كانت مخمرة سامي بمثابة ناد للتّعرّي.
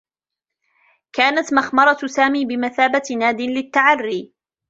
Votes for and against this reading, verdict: 1, 2, rejected